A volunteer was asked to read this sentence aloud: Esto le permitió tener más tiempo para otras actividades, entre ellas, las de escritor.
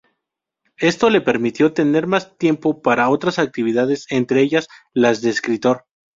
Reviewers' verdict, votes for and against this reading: accepted, 4, 0